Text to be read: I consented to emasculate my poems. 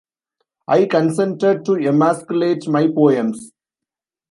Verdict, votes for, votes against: accepted, 2, 1